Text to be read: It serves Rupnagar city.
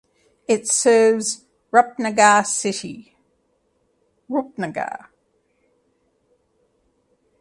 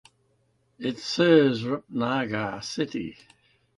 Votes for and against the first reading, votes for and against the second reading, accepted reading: 1, 2, 2, 0, second